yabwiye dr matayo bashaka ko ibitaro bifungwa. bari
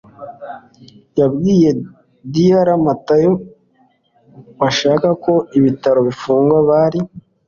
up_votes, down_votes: 2, 0